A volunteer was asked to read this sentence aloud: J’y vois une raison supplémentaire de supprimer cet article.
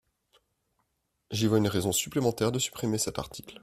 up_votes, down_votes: 2, 0